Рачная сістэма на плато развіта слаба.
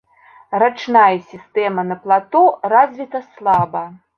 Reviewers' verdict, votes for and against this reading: rejected, 1, 2